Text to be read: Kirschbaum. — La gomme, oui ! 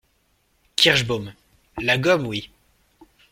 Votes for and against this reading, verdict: 2, 0, accepted